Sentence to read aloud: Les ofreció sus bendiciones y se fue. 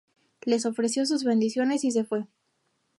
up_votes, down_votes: 0, 2